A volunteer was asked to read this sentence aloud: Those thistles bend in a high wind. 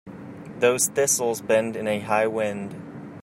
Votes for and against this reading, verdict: 2, 0, accepted